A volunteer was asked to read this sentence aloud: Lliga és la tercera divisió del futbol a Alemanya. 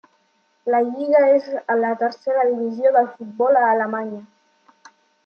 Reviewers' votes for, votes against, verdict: 0, 2, rejected